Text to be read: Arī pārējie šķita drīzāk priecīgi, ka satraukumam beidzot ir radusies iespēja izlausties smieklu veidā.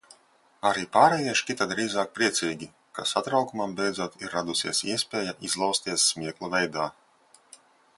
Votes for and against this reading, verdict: 2, 1, accepted